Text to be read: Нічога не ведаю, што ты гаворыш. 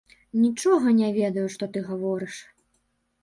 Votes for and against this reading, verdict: 2, 0, accepted